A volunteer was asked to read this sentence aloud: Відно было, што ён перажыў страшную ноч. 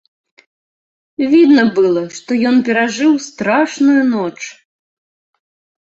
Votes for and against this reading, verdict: 0, 2, rejected